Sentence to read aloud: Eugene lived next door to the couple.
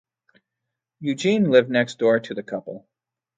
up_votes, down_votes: 2, 0